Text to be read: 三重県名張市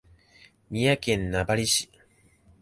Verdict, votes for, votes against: accepted, 2, 0